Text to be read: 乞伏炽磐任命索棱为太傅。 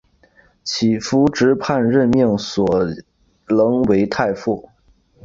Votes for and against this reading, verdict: 3, 0, accepted